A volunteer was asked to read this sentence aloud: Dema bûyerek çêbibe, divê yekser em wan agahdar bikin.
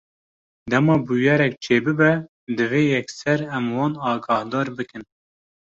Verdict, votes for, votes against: accepted, 2, 0